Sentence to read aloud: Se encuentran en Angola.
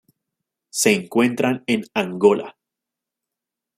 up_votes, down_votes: 2, 0